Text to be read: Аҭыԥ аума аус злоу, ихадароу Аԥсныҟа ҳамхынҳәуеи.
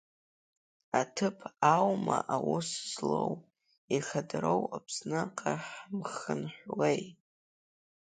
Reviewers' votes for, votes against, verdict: 3, 0, accepted